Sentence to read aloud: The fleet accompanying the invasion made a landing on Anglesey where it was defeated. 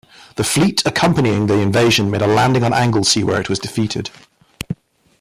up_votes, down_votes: 1, 3